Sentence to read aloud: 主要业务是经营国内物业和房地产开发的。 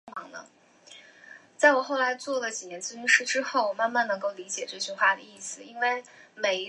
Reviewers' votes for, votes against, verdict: 0, 2, rejected